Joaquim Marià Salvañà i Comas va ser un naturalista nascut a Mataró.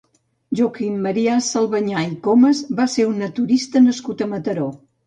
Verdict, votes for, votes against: rejected, 1, 2